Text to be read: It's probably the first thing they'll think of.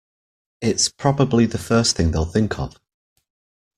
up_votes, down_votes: 2, 0